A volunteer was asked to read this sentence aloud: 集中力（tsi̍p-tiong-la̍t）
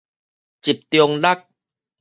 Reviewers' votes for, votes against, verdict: 4, 0, accepted